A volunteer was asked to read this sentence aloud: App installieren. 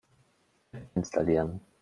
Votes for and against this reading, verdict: 0, 2, rejected